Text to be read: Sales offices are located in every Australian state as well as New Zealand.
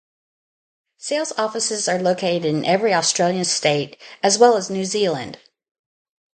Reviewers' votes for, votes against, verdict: 2, 0, accepted